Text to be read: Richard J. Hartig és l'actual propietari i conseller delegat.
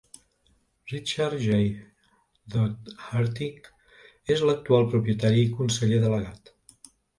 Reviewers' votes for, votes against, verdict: 1, 2, rejected